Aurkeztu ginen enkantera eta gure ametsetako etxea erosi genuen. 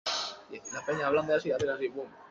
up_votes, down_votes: 0, 2